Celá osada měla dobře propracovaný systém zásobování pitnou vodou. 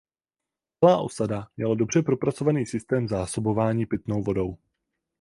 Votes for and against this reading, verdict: 0, 4, rejected